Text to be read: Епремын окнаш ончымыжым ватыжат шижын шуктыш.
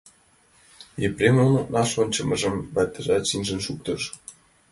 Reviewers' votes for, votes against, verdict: 1, 2, rejected